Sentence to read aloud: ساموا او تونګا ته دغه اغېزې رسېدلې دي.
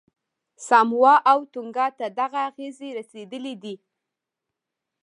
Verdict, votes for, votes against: rejected, 1, 2